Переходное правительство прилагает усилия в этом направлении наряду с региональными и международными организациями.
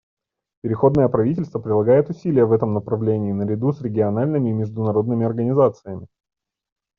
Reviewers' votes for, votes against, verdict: 2, 0, accepted